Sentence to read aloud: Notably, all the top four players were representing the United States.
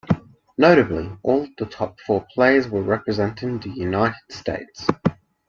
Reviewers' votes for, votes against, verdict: 4, 0, accepted